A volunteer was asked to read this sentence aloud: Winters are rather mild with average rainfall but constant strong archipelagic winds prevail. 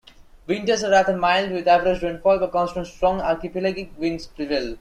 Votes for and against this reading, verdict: 0, 2, rejected